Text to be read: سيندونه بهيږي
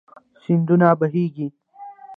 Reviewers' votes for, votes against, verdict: 0, 2, rejected